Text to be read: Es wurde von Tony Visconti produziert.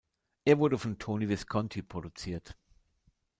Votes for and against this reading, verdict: 0, 2, rejected